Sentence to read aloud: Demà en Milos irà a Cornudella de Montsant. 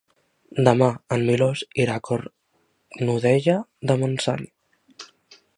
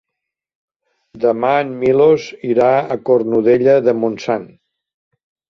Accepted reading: second